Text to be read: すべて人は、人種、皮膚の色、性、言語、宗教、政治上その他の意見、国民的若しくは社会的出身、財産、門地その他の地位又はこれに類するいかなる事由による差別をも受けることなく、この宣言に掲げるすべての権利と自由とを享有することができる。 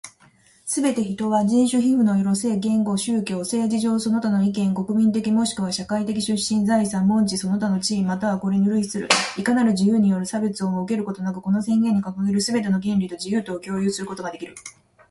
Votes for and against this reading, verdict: 2, 0, accepted